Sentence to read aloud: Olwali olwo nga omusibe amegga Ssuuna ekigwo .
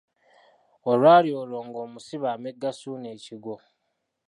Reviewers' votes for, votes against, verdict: 1, 2, rejected